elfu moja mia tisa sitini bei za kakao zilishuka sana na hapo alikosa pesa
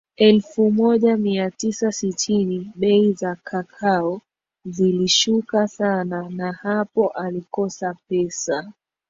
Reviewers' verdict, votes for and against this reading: accepted, 2, 1